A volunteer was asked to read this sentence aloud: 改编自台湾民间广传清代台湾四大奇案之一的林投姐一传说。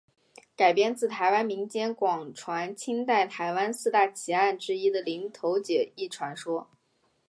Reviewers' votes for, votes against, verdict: 1, 2, rejected